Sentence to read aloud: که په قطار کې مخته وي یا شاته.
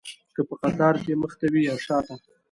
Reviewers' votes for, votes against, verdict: 1, 2, rejected